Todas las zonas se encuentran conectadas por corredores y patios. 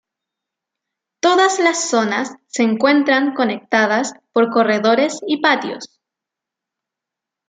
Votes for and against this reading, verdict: 2, 0, accepted